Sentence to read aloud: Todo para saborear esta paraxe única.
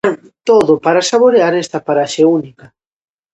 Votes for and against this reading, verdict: 0, 2, rejected